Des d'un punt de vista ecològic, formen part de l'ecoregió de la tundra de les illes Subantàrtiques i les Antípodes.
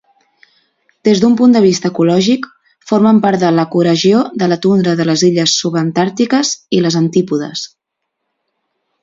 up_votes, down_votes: 0, 2